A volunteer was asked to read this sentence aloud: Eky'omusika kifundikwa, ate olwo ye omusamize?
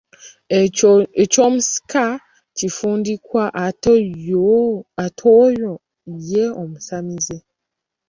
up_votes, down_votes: 0, 2